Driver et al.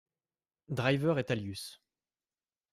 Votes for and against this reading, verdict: 0, 2, rejected